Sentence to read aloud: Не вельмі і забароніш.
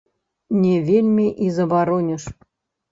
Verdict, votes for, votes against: rejected, 0, 2